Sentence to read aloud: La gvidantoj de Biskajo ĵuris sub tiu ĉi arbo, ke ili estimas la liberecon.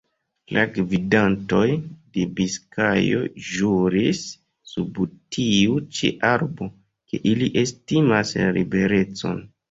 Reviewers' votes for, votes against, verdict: 1, 2, rejected